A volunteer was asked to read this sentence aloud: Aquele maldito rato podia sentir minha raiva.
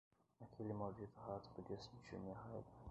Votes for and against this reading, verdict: 1, 2, rejected